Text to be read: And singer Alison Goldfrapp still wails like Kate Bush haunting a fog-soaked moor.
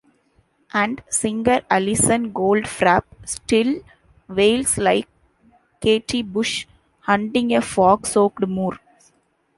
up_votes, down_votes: 1, 2